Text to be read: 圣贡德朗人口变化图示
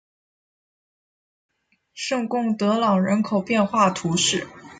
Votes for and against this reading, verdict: 0, 2, rejected